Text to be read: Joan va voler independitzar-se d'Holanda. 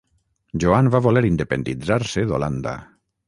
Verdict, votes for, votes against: accepted, 6, 0